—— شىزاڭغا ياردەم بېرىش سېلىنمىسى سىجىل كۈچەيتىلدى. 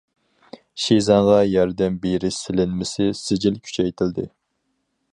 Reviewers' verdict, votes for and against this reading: accepted, 4, 0